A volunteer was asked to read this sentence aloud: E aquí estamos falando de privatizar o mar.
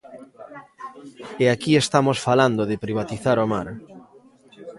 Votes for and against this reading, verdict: 0, 2, rejected